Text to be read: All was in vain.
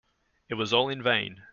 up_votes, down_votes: 1, 2